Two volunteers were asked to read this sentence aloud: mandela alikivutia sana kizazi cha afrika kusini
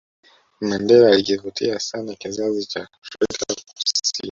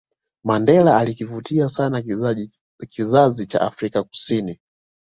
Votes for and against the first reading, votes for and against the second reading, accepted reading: 0, 2, 2, 1, second